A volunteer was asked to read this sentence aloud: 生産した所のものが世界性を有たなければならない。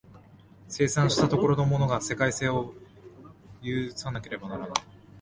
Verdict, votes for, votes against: accepted, 7, 5